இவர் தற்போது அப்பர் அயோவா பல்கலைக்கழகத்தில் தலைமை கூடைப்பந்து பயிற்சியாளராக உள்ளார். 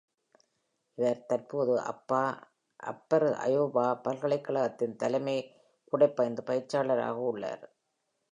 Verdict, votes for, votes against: rejected, 0, 2